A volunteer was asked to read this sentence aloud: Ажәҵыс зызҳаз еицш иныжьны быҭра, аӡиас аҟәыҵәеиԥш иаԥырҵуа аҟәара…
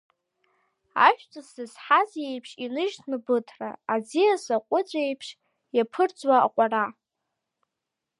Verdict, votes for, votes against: accepted, 2, 0